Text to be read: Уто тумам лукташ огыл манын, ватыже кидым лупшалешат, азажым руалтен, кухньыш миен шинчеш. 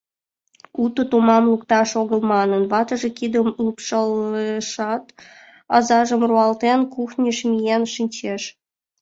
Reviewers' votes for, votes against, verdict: 2, 1, accepted